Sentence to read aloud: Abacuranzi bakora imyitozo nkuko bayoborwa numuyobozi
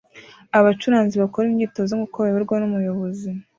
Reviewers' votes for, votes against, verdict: 2, 0, accepted